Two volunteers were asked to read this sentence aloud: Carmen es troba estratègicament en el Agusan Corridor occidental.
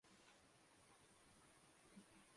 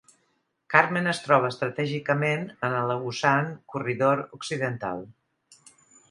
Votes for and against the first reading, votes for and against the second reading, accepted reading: 0, 2, 2, 0, second